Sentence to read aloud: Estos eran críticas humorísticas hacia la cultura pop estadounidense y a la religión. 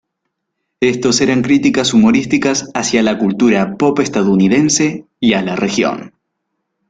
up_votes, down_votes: 1, 2